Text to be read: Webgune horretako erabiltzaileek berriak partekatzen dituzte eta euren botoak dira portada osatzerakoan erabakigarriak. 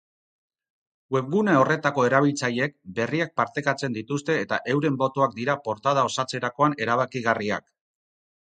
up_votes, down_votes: 4, 0